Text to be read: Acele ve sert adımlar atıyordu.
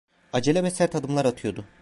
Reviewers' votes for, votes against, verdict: 2, 0, accepted